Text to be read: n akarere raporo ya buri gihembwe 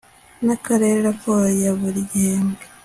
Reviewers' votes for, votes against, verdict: 2, 0, accepted